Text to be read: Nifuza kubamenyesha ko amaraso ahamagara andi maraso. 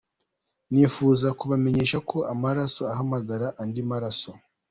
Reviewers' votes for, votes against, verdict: 2, 1, accepted